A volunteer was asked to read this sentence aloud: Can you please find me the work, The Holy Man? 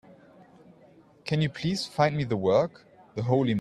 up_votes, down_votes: 0, 2